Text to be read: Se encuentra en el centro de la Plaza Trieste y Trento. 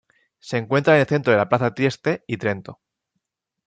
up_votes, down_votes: 2, 0